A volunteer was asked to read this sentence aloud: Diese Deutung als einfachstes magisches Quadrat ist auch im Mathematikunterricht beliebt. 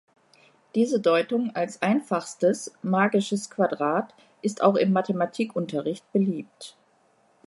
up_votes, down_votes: 2, 0